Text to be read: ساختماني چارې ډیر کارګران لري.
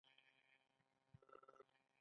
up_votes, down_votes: 1, 2